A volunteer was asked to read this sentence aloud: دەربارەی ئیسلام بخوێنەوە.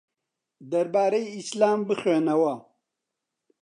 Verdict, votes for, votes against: accepted, 2, 0